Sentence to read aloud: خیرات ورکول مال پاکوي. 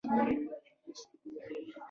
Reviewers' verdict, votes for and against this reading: rejected, 2, 3